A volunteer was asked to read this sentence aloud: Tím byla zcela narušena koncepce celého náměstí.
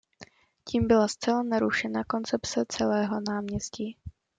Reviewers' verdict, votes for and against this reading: accepted, 2, 0